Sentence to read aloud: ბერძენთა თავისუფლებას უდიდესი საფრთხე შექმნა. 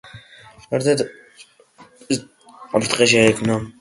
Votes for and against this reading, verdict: 0, 2, rejected